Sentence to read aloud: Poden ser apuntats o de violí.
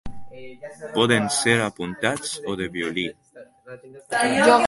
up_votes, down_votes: 2, 1